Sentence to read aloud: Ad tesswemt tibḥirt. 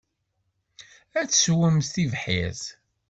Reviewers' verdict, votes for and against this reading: accepted, 2, 0